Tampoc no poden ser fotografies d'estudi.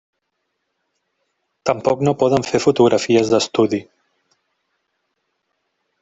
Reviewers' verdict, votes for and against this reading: rejected, 0, 2